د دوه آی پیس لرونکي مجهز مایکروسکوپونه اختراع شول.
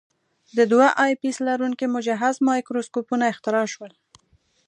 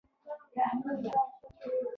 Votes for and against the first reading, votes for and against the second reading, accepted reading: 2, 0, 0, 2, first